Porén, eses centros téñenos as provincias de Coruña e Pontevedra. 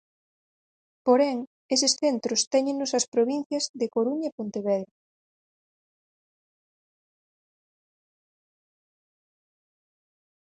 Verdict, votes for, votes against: accepted, 4, 0